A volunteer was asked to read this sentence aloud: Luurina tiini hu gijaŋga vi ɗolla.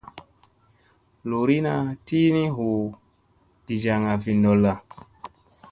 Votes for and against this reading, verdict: 2, 0, accepted